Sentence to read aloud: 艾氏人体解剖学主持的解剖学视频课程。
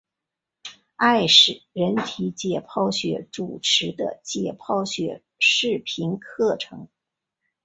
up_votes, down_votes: 2, 1